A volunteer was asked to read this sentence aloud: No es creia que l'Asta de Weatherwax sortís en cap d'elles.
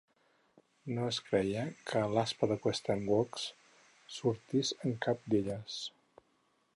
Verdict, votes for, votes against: accepted, 4, 0